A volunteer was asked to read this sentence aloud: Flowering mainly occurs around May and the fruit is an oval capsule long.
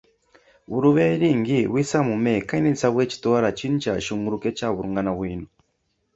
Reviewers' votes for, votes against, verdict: 0, 2, rejected